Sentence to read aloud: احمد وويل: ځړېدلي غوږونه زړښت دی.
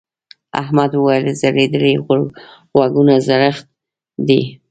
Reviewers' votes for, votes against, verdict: 0, 2, rejected